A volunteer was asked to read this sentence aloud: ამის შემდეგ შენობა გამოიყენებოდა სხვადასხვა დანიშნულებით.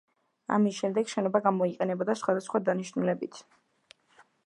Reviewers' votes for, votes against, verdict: 2, 0, accepted